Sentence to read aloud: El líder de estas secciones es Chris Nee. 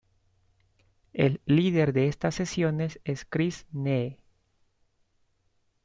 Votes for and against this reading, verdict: 1, 2, rejected